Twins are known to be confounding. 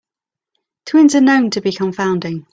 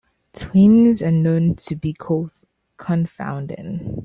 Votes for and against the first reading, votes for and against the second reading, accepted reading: 2, 0, 0, 2, first